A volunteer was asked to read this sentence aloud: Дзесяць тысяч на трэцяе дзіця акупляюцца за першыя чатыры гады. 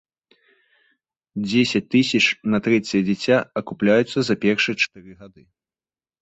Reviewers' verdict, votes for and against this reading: rejected, 1, 2